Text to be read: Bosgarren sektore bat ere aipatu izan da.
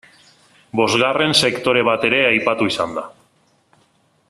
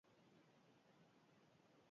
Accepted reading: first